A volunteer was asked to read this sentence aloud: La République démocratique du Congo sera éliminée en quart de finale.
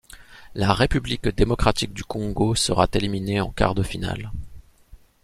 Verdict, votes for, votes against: rejected, 0, 2